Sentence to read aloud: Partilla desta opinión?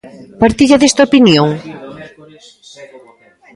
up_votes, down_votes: 0, 2